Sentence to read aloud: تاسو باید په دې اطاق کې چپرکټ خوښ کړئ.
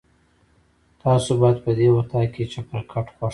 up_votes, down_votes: 2, 1